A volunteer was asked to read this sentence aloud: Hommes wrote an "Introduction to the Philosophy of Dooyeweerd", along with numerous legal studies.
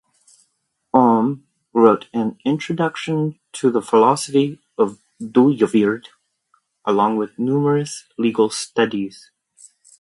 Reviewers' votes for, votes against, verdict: 0, 2, rejected